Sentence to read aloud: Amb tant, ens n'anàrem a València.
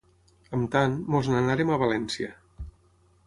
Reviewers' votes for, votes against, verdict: 6, 3, accepted